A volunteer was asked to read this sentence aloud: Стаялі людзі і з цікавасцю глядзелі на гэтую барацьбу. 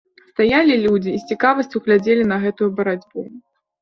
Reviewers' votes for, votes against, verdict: 2, 0, accepted